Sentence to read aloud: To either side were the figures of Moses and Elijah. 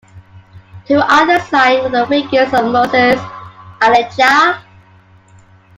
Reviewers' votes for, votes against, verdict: 1, 3, rejected